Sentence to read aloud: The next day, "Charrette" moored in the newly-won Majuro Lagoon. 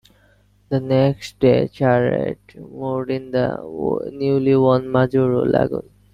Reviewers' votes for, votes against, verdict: 1, 2, rejected